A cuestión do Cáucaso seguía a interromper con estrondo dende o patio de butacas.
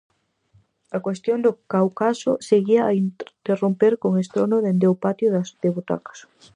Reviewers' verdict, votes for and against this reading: rejected, 0, 4